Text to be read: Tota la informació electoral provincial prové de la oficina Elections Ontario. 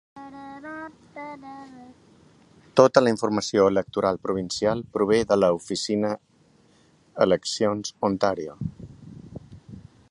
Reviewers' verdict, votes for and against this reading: rejected, 1, 2